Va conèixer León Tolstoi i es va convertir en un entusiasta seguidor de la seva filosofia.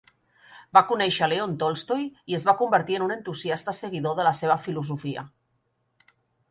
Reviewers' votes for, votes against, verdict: 3, 0, accepted